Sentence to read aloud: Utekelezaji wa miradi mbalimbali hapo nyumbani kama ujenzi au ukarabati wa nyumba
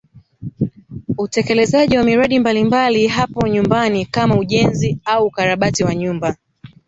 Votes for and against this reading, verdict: 2, 0, accepted